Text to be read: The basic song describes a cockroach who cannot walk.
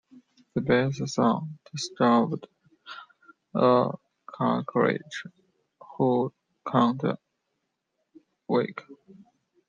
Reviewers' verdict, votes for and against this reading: rejected, 0, 2